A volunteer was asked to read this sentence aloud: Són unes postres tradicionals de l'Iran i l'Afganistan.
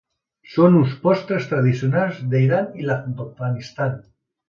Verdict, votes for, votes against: rejected, 1, 2